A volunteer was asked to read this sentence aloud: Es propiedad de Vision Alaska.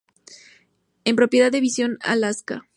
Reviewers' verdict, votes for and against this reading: rejected, 0, 4